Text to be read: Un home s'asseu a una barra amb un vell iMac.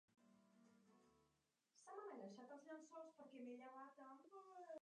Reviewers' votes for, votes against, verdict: 0, 2, rejected